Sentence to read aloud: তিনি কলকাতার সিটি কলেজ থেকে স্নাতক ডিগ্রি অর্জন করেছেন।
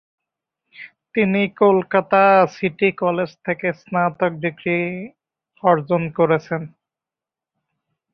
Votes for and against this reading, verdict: 3, 4, rejected